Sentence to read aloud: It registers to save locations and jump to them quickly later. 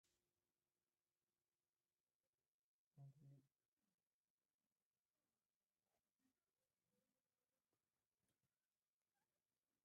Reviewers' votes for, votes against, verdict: 0, 3, rejected